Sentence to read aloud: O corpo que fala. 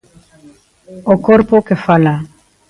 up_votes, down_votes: 2, 0